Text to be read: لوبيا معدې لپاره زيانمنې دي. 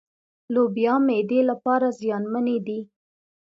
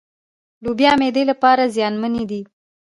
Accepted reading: first